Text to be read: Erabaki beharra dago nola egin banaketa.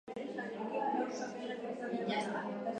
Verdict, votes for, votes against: rejected, 0, 3